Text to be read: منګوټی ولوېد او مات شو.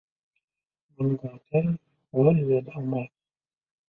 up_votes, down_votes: 1, 2